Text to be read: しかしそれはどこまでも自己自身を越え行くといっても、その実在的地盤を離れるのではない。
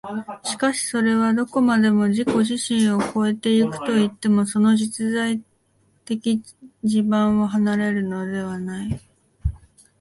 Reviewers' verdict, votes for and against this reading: accepted, 2, 1